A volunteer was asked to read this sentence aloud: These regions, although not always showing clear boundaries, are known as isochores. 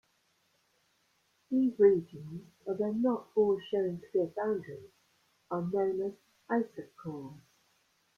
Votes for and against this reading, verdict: 1, 2, rejected